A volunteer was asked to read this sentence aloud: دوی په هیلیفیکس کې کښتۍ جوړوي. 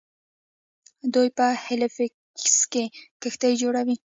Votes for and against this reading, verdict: 1, 2, rejected